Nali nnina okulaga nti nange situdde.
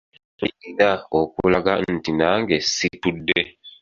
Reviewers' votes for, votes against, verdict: 1, 2, rejected